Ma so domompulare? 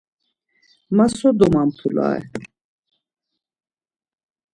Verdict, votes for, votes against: accepted, 2, 0